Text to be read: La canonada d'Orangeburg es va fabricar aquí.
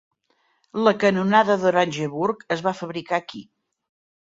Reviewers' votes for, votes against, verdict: 3, 0, accepted